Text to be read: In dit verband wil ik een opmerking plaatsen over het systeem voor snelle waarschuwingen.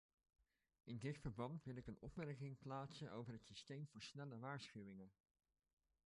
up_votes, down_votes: 1, 2